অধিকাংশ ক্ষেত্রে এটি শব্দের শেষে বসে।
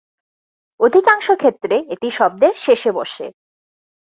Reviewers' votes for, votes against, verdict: 4, 0, accepted